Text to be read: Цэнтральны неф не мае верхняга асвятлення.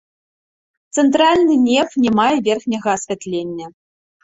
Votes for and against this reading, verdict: 2, 0, accepted